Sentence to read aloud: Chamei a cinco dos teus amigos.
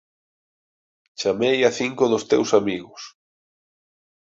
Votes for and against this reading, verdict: 2, 2, rejected